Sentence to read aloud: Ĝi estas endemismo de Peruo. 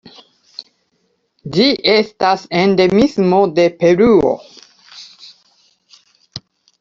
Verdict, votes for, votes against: accepted, 2, 0